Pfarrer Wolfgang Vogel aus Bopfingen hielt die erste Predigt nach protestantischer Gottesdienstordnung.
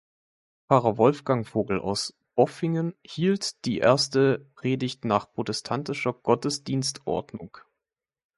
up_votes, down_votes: 2, 1